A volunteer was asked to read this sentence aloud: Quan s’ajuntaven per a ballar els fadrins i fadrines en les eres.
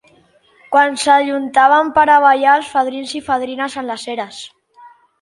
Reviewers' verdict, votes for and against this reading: accepted, 2, 0